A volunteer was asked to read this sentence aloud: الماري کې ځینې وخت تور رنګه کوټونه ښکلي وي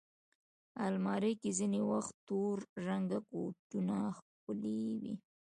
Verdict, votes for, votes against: accepted, 2, 0